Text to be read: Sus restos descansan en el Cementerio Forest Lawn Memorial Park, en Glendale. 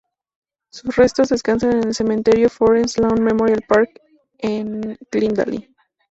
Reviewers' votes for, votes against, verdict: 4, 0, accepted